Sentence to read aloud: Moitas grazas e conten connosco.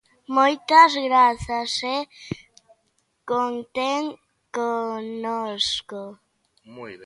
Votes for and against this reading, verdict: 0, 2, rejected